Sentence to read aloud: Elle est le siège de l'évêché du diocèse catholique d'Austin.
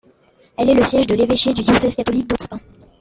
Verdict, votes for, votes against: rejected, 0, 2